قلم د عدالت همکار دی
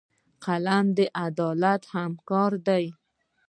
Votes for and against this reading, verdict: 2, 1, accepted